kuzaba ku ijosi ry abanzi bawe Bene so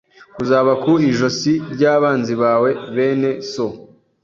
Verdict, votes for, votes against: accepted, 2, 0